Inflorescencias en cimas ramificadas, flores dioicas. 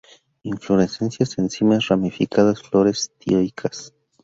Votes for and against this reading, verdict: 2, 0, accepted